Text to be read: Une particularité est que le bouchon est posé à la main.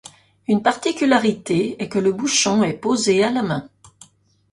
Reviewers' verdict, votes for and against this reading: accepted, 2, 0